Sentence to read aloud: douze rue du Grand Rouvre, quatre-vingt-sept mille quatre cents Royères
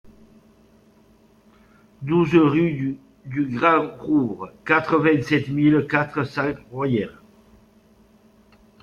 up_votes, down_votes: 2, 1